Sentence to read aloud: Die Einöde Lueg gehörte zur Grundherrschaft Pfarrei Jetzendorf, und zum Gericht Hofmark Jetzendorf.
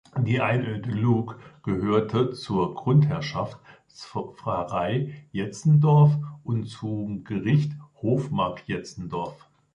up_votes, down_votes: 1, 2